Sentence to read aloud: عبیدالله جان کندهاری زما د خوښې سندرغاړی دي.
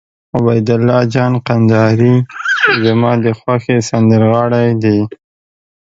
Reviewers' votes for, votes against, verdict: 1, 2, rejected